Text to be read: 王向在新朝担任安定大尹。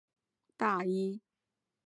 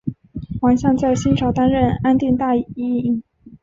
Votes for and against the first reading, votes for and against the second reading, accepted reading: 1, 2, 2, 0, second